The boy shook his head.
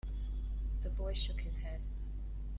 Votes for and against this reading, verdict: 2, 0, accepted